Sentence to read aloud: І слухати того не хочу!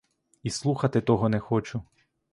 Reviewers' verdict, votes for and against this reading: accepted, 2, 0